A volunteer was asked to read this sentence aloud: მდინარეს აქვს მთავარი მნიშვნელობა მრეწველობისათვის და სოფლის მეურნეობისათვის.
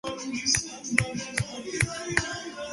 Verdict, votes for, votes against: rejected, 0, 2